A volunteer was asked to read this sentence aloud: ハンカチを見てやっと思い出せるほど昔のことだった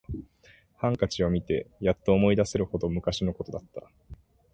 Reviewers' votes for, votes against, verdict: 2, 0, accepted